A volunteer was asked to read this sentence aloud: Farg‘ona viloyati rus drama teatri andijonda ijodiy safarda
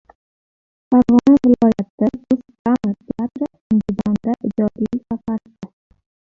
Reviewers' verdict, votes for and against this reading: rejected, 0, 2